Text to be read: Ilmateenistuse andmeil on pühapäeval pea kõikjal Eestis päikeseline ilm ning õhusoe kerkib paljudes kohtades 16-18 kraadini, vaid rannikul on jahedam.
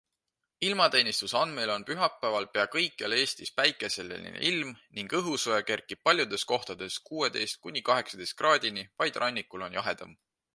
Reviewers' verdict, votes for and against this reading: rejected, 0, 2